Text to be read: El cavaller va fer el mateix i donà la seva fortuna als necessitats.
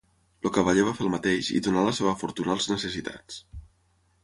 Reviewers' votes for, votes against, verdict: 0, 6, rejected